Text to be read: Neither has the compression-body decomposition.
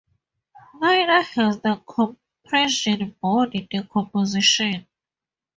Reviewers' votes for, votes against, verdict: 2, 0, accepted